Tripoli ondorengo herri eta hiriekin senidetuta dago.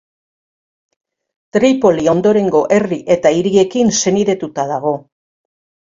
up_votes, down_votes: 2, 0